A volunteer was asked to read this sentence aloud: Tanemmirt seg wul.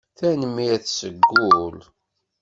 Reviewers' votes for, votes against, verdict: 2, 1, accepted